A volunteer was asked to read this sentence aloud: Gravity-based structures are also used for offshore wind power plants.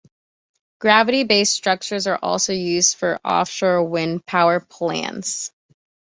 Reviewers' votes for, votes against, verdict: 2, 0, accepted